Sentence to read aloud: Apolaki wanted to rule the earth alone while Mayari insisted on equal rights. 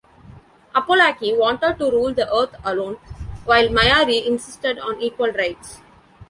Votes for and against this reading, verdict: 1, 2, rejected